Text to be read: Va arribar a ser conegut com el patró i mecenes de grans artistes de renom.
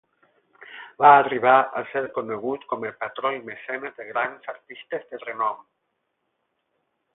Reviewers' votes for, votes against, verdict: 8, 0, accepted